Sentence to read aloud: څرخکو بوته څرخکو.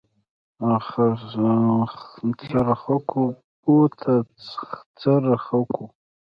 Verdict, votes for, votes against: rejected, 1, 2